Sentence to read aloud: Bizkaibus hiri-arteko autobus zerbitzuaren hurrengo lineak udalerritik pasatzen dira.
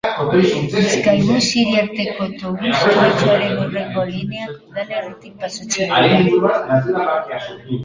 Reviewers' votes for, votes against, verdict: 0, 2, rejected